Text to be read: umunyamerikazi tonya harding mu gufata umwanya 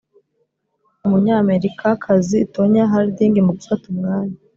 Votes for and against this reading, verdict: 2, 0, accepted